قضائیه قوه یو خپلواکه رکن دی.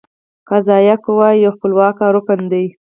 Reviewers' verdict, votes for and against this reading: rejected, 0, 4